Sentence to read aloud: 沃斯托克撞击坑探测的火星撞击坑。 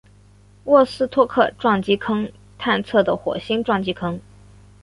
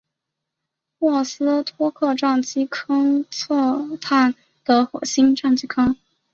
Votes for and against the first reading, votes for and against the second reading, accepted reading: 3, 0, 1, 2, first